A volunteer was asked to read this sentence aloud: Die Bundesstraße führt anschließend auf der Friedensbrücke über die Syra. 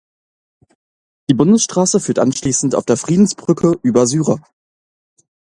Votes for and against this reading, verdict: 0, 2, rejected